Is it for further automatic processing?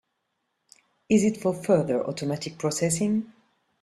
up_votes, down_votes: 2, 0